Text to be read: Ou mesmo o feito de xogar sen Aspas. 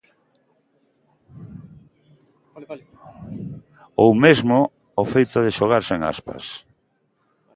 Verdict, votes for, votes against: rejected, 0, 2